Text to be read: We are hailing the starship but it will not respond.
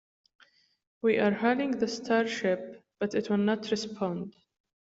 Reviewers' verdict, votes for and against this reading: rejected, 1, 2